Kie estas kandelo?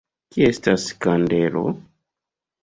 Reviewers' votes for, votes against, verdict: 2, 0, accepted